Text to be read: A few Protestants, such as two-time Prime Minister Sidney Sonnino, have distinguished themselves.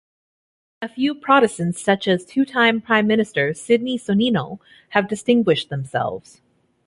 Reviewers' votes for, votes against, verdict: 2, 0, accepted